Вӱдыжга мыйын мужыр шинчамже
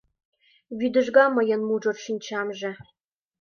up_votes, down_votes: 2, 0